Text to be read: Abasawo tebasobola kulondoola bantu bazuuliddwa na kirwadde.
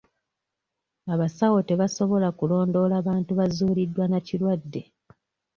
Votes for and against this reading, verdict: 2, 0, accepted